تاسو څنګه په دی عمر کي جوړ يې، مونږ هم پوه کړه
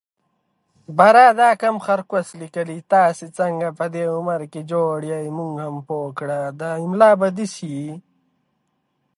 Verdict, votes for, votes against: rejected, 0, 2